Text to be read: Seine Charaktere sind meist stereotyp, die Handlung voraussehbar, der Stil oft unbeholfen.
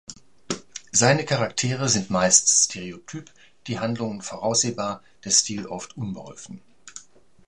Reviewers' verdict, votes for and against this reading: accepted, 2, 0